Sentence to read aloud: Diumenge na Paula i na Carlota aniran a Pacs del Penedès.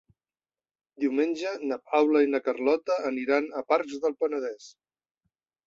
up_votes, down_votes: 1, 2